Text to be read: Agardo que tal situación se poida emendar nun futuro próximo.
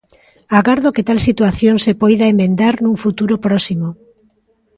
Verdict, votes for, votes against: rejected, 1, 2